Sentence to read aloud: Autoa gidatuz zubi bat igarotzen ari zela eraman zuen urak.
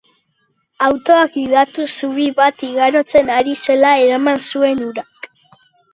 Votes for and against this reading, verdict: 2, 0, accepted